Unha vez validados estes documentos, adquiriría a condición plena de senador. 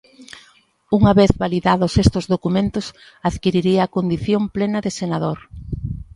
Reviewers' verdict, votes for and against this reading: rejected, 0, 2